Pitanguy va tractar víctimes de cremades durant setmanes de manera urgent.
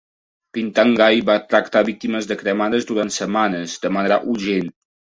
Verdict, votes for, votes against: rejected, 1, 2